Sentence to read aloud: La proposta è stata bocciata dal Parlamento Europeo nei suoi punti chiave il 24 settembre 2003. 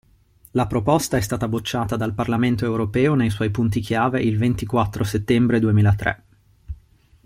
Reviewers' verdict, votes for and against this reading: rejected, 0, 2